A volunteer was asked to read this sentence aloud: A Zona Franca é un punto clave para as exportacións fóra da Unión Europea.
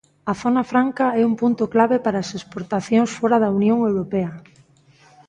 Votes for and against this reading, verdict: 2, 0, accepted